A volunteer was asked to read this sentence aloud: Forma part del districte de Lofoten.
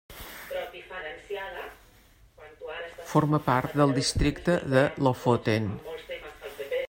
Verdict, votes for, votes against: rejected, 1, 3